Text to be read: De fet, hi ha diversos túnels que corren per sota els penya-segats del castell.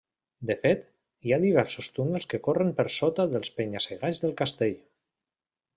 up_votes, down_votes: 0, 2